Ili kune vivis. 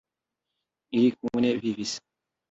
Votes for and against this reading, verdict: 2, 0, accepted